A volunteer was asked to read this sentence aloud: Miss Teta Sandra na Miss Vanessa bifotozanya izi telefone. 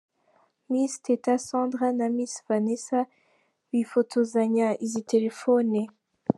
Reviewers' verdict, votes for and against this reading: accepted, 3, 1